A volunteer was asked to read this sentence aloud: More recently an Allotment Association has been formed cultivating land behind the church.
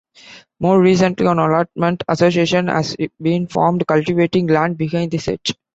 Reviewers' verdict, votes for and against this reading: rejected, 1, 2